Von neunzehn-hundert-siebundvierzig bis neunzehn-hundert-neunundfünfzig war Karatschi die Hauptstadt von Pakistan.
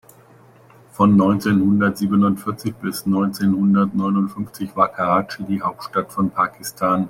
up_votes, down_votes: 2, 0